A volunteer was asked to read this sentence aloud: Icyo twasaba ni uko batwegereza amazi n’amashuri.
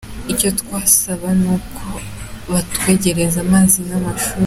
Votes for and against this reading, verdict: 3, 1, accepted